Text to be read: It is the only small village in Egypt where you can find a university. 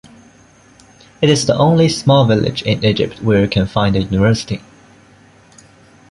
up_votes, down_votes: 2, 1